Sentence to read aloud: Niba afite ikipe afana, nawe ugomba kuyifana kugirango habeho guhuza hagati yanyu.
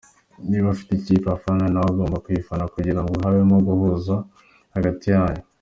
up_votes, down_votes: 2, 1